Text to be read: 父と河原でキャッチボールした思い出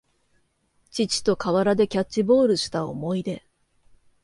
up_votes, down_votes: 2, 0